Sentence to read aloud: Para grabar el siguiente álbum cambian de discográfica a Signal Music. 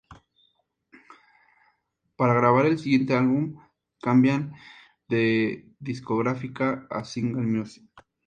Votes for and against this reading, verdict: 2, 0, accepted